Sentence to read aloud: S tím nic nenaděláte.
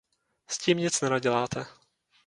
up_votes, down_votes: 2, 0